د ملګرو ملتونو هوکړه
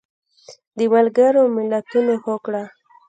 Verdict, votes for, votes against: accepted, 2, 0